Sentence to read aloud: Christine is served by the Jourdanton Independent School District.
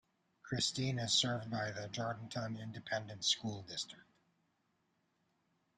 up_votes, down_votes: 0, 2